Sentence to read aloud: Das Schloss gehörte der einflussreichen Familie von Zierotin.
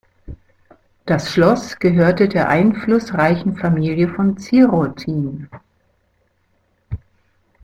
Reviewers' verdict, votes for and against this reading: accepted, 2, 0